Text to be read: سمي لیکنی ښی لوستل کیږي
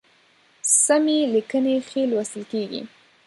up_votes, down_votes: 0, 2